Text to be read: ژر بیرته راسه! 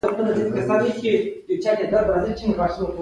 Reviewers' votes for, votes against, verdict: 2, 1, accepted